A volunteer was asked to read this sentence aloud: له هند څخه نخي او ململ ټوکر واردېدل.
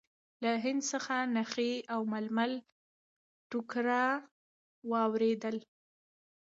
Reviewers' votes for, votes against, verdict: 2, 0, accepted